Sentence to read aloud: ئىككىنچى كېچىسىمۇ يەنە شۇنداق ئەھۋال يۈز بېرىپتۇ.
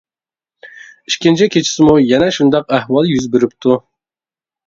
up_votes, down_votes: 2, 0